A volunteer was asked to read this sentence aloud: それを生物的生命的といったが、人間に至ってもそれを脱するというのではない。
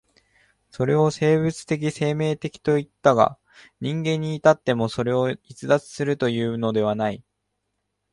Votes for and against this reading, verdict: 1, 2, rejected